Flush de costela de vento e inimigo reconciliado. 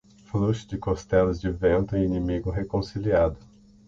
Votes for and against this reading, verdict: 3, 3, rejected